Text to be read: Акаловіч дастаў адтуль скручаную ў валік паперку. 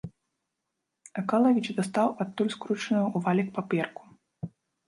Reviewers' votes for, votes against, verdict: 0, 2, rejected